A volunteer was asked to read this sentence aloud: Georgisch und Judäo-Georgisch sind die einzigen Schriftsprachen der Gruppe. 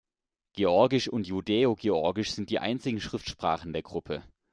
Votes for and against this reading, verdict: 2, 0, accepted